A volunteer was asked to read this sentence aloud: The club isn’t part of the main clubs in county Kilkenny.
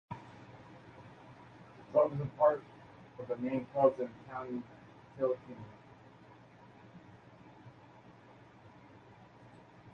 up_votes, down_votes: 0, 2